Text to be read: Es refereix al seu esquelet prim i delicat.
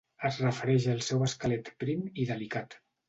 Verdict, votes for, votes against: accepted, 2, 0